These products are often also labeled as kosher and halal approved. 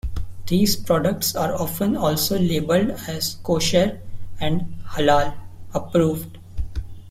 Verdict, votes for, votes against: accepted, 2, 0